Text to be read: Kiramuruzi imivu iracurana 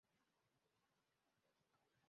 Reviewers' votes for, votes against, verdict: 0, 2, rejected